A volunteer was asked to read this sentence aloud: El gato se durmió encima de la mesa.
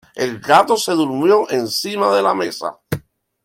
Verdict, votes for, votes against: accepted, 2, 1